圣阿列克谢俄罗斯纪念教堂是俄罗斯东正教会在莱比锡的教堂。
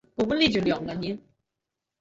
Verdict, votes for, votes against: rejected, 0, 3